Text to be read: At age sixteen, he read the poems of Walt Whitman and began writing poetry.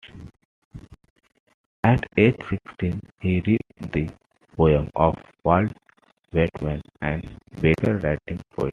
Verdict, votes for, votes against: rejected, 1, 2